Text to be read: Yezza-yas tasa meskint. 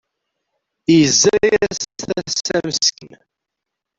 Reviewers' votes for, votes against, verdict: 0, 2, rejected